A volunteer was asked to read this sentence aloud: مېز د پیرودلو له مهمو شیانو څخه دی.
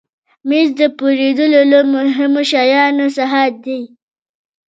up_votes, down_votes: 1, 2